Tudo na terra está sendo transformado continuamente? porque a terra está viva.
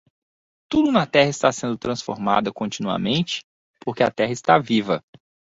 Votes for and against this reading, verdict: 3, 1, accepted